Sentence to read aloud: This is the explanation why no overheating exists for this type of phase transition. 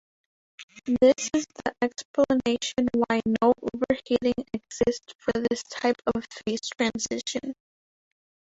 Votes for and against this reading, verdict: 1, 2, rejected